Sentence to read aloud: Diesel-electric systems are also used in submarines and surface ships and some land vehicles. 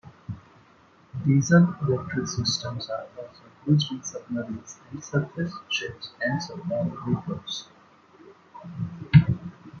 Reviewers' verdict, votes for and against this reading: rejected, 1, 3